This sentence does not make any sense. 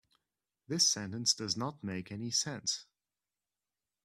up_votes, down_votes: 2, 0